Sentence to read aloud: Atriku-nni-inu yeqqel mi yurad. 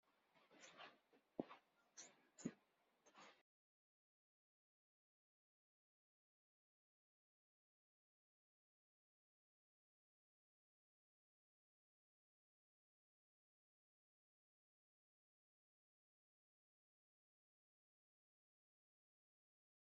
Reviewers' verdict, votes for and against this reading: rejected, 0, 2